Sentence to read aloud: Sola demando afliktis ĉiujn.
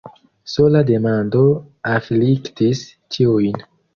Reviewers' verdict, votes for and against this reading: accepted, 2, 0